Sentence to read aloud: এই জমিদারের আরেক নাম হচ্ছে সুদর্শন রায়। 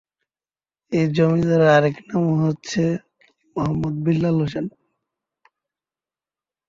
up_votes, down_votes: 0, 2